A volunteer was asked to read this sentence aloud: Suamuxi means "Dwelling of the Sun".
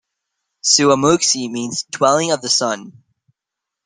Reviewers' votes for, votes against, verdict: 2, 0, accepted